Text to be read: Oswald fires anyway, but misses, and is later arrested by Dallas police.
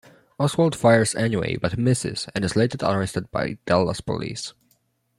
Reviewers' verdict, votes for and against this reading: accepted, 2, 0